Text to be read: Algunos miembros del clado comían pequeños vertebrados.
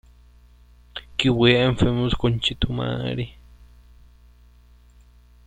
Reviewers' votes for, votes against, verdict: 0, 2, rejected